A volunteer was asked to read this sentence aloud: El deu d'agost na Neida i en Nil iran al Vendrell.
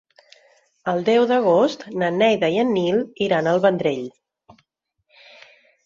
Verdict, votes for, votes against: accepted, 4, 0